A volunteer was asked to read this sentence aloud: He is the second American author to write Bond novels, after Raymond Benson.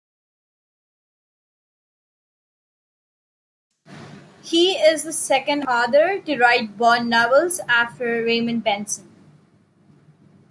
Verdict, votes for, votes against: rejected, 0, 3